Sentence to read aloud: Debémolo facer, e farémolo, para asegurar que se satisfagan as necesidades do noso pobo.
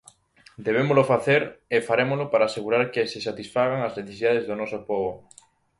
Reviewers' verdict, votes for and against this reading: accepted, 2, 0